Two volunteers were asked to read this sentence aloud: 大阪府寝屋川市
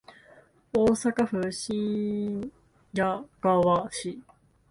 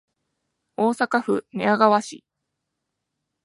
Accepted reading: second